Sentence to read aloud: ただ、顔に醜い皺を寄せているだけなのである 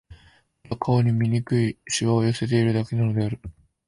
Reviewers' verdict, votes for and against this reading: accepted, 3, 0